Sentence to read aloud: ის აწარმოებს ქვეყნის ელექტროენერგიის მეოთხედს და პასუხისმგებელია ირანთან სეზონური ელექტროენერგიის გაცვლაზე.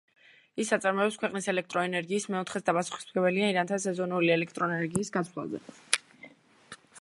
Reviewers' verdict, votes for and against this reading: rejected, 1, 2